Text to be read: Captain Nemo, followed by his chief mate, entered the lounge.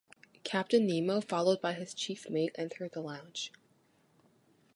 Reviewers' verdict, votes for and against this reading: accepted, 2, 0